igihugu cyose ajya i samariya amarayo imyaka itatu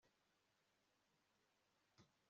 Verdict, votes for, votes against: rejected, 1, 2